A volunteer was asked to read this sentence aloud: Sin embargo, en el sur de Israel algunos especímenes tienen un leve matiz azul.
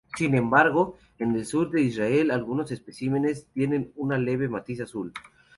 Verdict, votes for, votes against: accepted, 2, 0